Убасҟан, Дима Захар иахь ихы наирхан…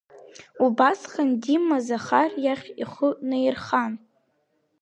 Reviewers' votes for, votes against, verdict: 2, 0, accepted